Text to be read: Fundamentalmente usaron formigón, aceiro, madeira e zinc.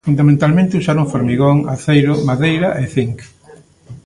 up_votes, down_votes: 2, 0